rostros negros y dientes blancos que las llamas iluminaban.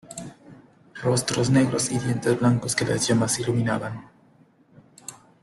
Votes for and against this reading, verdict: 2, 1, accepted